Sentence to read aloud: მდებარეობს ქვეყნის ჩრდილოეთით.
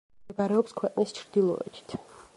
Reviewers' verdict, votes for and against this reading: rejected, 1, 2